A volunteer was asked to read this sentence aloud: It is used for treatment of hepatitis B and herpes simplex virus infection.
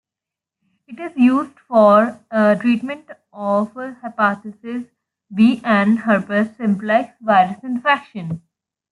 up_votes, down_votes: 0, 2